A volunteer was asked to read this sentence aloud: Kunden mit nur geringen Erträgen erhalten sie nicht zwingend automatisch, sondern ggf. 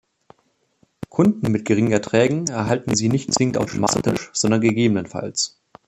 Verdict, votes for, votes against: rejected, 1, 2